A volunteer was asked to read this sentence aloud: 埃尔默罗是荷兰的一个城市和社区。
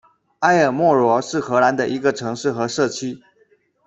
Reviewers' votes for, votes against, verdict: 2, 0, accepted